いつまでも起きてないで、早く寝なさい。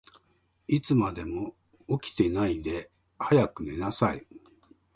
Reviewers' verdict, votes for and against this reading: accepted, 2, 0